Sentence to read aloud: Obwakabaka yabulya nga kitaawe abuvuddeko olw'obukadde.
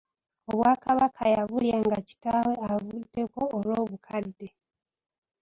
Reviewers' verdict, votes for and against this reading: rejected, 1, 2